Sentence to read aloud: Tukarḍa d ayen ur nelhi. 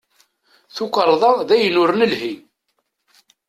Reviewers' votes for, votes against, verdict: 2, 0, accepted